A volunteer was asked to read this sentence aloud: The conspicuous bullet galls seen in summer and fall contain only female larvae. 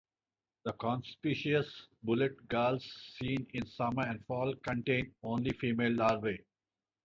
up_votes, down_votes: 4, 0